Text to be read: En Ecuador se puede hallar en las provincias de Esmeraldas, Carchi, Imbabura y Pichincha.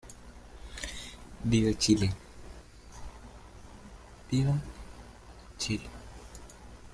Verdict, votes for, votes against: rejected, 0, 2